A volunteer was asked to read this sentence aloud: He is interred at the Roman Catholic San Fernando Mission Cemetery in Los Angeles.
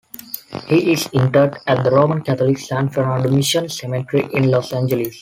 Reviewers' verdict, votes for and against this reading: rejected, 1, 2